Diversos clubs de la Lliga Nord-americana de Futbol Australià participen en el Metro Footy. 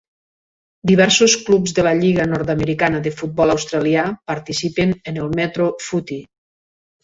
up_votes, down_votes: 3, 0